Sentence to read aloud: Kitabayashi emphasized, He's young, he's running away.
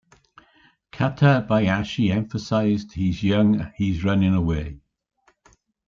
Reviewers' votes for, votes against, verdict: 2, 1, accepted